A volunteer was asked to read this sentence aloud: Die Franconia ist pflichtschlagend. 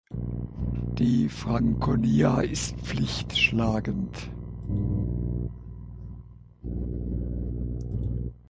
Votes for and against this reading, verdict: 4, 6, rejected